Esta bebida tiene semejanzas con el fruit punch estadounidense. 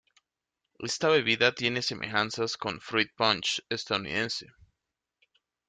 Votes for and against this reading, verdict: 0, 2, rejected